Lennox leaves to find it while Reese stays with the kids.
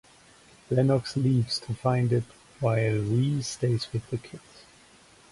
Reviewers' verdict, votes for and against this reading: accepted, 2, 0